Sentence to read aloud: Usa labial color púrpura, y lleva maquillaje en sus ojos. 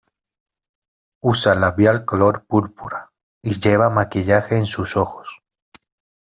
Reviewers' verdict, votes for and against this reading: accepted, 2, 0